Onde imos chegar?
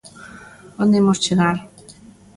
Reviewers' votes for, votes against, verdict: 2, 0, accepted